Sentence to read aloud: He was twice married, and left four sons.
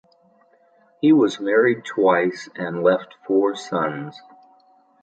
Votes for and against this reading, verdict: 1, 2, rejected